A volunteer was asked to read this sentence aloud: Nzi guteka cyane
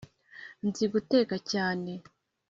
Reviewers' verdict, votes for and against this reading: accepted, 3, 0